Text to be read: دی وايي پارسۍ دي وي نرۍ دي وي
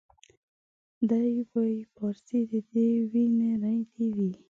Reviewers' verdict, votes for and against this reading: rejected, 1, 2